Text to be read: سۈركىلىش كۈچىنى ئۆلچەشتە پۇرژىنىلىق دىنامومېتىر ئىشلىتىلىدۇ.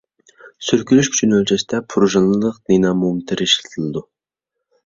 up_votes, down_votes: 2, 0